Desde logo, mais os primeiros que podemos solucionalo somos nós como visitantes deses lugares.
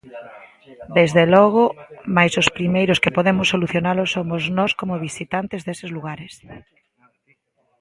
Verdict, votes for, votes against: accepted, 2, 1